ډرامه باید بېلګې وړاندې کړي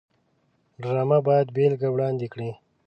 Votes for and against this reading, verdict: 2, 0, accepted